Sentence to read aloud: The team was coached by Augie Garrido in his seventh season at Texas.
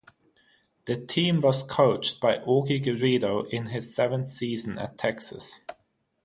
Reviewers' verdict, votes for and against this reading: rejected, 0, 3